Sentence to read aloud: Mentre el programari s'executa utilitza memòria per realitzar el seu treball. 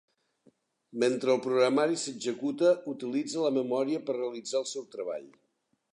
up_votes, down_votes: 0, 2